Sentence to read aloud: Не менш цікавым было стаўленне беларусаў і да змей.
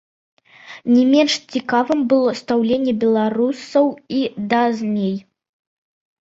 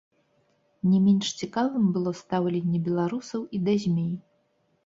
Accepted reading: second